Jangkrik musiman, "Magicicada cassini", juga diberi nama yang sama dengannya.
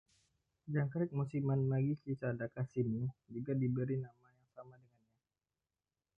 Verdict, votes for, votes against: rejected, 0, 2